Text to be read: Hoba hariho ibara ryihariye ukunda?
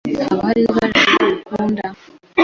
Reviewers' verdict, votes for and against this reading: rejected, 0, 2